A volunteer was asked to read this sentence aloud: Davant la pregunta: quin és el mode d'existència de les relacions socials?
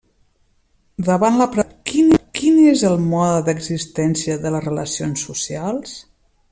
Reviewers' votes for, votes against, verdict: 0, 2, rejected